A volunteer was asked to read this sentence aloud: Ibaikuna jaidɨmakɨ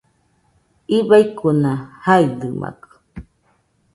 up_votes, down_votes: 2, 0